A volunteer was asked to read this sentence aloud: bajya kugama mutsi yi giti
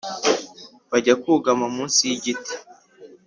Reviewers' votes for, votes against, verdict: 2, 0, accepted